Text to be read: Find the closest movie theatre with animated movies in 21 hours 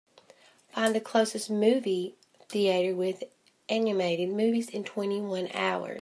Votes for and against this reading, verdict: 0, 2, rejected